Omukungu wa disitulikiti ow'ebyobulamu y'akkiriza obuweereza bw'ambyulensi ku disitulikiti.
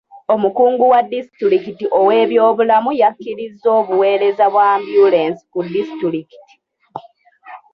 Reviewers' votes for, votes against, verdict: 0, 2, rejected